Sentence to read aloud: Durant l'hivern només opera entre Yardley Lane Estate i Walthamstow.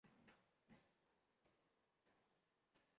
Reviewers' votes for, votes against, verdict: 1, 2, rejected